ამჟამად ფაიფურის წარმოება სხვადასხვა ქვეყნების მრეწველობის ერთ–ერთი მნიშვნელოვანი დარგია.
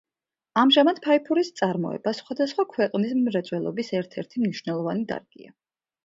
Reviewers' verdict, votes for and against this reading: rejected, 1, 2